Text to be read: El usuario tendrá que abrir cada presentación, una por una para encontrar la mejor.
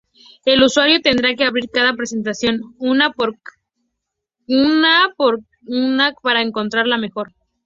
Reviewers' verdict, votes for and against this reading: accepted, 2, 0